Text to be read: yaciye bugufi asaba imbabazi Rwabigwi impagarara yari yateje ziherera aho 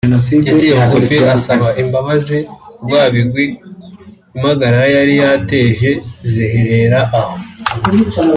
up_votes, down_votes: 1, 2